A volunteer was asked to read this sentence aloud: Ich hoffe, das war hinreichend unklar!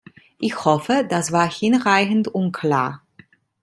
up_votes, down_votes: 2, 0